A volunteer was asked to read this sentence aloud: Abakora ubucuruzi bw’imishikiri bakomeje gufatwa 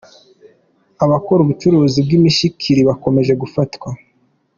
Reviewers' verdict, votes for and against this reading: accepted, 2, 1